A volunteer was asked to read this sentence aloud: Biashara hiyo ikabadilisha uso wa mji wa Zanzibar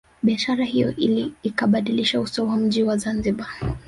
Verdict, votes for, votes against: accepted, 2, 1